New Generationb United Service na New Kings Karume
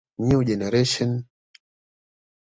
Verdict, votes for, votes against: accepted, 2, 0